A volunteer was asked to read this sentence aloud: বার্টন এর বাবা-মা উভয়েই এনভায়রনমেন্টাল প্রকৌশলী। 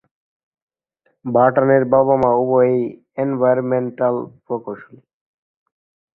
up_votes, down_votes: 3, 5